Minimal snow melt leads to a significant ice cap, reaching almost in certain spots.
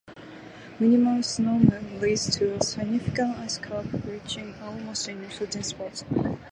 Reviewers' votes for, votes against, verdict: 2, 2, rejected